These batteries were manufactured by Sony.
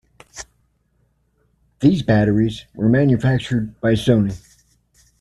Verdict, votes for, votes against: accepted, 2, 0